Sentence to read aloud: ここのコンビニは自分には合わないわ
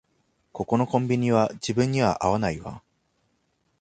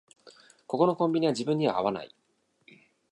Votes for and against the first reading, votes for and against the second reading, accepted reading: 2, 0, 1, 2, first